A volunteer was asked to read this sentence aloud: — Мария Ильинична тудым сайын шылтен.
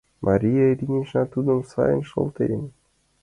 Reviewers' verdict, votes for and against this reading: accepted, 2, 0